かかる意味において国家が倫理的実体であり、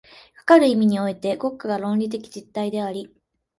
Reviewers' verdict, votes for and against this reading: rejected, 2, 3